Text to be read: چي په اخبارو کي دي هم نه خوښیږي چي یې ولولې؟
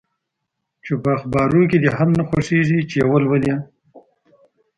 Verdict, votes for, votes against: rejected, 0, 2